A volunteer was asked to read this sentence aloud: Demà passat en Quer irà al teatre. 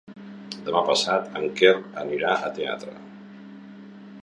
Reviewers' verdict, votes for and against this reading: rejected, 1, 2